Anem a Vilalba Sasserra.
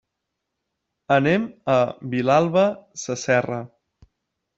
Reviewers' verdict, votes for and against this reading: accepted, 3, 0